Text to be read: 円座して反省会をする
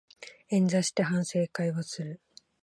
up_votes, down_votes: 9, 0